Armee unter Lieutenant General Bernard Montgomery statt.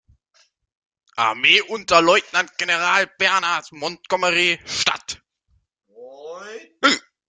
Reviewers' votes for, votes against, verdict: 0, 2, rejected